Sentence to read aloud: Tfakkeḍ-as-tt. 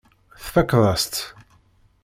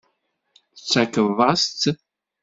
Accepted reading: first